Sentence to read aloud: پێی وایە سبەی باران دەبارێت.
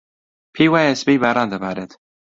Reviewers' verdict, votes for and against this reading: accepted, 2, 0